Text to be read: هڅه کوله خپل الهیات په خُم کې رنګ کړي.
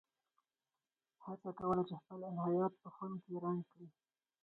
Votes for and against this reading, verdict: 0, 4, rejected